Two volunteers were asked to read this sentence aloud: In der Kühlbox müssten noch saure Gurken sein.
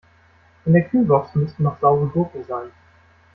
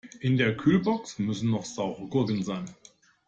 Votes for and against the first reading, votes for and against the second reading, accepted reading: 2, 0, 1, 2, first